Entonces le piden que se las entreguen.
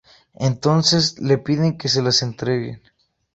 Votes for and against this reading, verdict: 0, 2, rejected